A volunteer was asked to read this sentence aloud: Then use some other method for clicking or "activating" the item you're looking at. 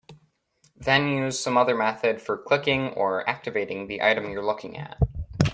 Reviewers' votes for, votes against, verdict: 2, 0, accepted